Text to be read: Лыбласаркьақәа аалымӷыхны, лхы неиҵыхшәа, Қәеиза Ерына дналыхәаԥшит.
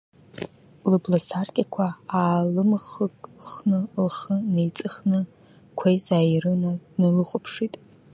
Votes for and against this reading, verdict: 0, 2, rejected